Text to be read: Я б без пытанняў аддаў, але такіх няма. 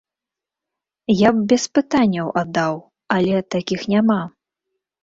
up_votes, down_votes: 2, 0